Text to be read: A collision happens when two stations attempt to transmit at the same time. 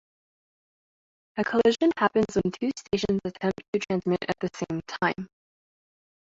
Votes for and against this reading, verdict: 0, 2, rejected